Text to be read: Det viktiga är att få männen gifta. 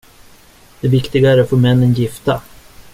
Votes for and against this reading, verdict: 2, 0, accepted